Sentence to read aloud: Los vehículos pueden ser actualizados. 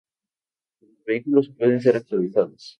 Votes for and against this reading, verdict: 0, 4, rejected